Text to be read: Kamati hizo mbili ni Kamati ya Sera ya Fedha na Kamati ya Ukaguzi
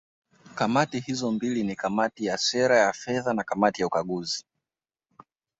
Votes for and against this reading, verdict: 2, 0, accepted